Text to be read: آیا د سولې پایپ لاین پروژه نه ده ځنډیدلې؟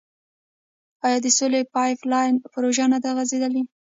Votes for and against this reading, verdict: 0, 2, rejected